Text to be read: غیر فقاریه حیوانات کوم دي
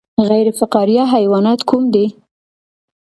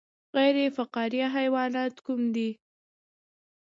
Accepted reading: second